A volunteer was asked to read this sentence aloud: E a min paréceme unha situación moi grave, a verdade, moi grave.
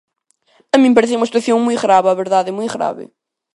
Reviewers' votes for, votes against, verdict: 0, 2, rejected